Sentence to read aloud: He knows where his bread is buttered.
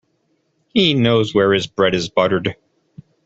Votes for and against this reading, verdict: 2, 0, accepted